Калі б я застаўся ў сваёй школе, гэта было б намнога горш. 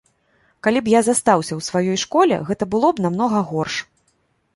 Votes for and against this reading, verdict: 2, 0, accepted